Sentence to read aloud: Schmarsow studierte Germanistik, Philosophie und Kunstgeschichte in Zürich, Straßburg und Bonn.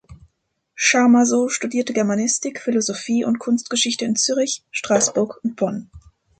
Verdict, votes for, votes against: rejected, 0, 2